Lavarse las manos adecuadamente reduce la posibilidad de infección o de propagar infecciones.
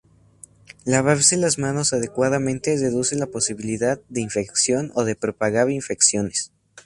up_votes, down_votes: 2, 0